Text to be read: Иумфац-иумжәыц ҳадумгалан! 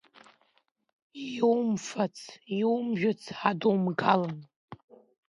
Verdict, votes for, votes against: accepted, 2, 1